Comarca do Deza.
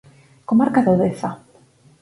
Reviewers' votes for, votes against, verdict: 4, 0, accepted